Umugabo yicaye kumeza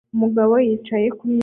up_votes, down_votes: 2, 1